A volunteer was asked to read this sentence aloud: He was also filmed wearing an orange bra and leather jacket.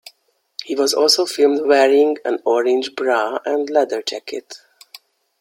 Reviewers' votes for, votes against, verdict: 2, 0, accepted